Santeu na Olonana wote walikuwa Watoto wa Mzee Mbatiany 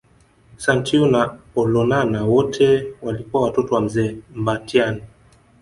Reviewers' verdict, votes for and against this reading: rejected, 1, 2